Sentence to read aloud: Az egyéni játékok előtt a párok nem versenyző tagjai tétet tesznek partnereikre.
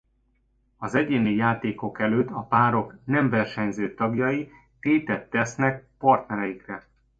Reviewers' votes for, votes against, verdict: 2, 0, accepted